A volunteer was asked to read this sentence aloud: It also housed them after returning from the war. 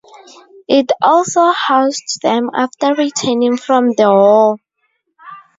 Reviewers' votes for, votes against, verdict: 2, 0, accepted